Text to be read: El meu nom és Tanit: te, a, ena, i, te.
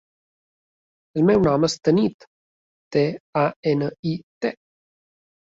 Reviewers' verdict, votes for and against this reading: accepted, 2, 0